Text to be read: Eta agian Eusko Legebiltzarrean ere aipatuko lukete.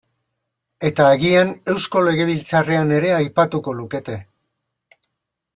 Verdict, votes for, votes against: accepted, 2, 0